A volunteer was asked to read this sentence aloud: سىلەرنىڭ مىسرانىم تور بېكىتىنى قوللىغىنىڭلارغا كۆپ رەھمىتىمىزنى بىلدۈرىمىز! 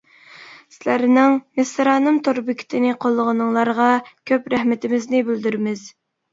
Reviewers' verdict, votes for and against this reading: accepted, 3, 0